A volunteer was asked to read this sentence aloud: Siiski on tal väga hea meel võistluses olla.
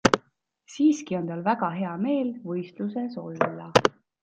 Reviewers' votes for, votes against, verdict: 2, 0, accepted